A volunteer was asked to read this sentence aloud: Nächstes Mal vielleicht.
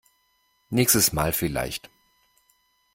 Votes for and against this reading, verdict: 2, 0, accepted